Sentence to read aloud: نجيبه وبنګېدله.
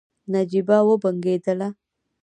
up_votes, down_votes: 2, 0